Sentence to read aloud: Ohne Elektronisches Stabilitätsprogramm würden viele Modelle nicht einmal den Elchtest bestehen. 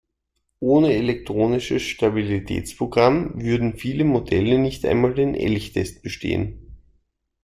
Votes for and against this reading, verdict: 2, 0, accepted